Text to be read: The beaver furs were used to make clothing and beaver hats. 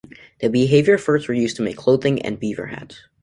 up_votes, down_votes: 0, 2